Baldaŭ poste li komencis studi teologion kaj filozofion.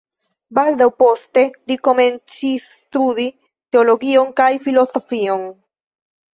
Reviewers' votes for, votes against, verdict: 1, 2, rejected